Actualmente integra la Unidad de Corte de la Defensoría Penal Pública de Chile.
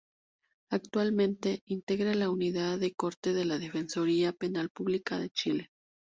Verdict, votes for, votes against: rejected, 2, 2